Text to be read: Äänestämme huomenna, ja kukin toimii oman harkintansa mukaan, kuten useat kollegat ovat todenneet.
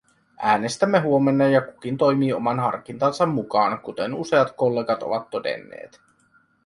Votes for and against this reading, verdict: 2, 0, accepted